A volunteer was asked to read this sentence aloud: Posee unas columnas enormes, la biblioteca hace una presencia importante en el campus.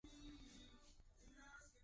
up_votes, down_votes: 0, 2